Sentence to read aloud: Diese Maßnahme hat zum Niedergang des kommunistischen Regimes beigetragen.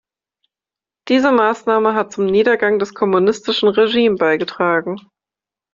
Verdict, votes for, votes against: rejected, 1, 2